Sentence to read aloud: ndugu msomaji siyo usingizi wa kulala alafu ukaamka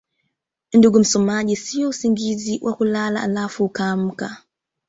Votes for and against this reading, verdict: 2, 0, accepted